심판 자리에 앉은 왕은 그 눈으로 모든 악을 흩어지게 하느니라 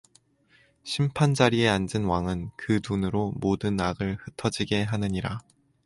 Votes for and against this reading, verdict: 2, 2, rejected